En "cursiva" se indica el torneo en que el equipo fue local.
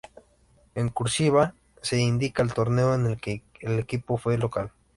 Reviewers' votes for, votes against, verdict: 2, 0, accepted